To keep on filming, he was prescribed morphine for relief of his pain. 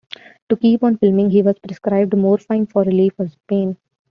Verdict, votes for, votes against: rejected, 1, 2